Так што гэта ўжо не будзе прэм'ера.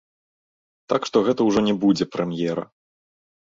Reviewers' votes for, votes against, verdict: 2, 0, accepted